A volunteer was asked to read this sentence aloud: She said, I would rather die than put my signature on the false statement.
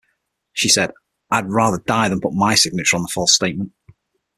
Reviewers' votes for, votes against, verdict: 0, 6, rejected